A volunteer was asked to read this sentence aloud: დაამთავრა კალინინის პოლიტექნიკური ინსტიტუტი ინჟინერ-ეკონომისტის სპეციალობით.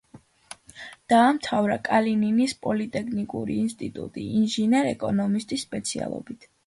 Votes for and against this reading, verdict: 2, 0, accepted